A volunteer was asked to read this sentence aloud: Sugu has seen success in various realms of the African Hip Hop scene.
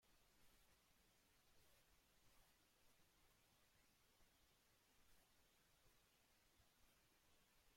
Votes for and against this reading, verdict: 1, 2, rejected